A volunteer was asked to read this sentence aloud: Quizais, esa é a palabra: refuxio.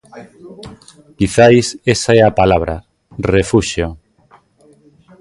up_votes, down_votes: 1, 2